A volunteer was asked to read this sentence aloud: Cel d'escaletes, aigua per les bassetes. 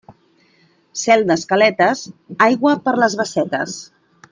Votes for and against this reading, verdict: 2, 0, accepted